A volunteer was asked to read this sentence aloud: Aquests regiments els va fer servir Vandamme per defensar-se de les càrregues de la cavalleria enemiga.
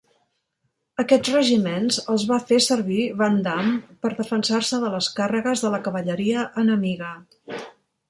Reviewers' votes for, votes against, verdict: 2, 0, accepted